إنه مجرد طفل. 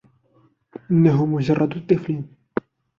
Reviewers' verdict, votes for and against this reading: accepted, 2, 1